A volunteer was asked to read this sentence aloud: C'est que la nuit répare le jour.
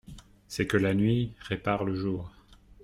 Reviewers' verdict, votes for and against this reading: accepted, 2, 0